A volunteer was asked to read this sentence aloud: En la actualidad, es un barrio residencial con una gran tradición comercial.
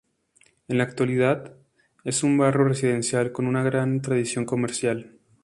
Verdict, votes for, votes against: accepted, 4, 0